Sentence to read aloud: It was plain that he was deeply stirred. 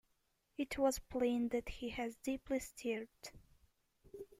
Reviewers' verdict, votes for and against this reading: rejected, 1, 2